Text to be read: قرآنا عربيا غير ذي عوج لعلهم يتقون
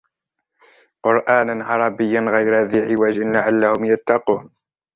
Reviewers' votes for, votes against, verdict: 0, 2, rejected